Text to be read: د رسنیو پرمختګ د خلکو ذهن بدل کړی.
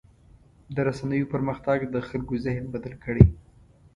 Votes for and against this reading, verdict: 2, 0, accepted